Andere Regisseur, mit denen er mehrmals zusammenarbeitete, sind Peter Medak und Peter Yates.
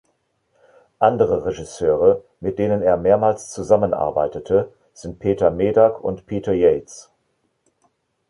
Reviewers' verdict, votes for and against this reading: rejected, 1, 2